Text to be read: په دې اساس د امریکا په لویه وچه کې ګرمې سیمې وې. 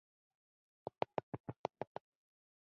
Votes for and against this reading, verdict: 0, 2, rejected